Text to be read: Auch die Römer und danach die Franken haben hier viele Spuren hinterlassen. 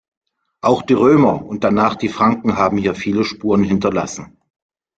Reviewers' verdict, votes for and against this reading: accepted, 2, 0